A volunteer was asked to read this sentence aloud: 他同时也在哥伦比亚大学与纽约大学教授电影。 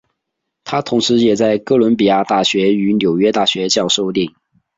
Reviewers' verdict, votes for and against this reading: rejected, 3, 3